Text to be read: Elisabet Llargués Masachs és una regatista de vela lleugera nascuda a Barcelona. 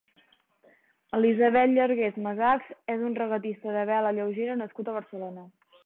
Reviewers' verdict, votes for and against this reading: rejected, 1, 2